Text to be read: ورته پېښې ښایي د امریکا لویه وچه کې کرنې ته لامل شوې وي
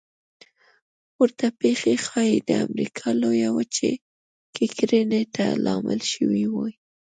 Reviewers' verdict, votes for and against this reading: accepted, 2, 0